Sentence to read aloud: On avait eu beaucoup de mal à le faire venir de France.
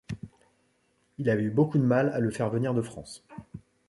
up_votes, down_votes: 0, 2